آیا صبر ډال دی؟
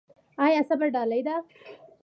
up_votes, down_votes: 2, 0